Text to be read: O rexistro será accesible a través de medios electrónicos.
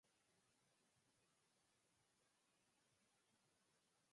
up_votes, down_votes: 0, 4